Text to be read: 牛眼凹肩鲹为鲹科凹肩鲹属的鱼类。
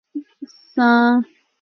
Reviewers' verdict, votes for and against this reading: rejected, 0, 4